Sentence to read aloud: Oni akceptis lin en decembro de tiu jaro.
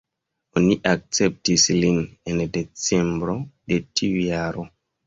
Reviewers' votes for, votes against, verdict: 2, 1, accepted